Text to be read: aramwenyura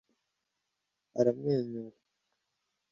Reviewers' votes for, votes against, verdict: 2, 0, accepted